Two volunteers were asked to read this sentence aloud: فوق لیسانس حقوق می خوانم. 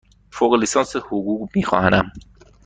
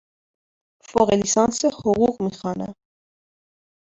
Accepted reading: second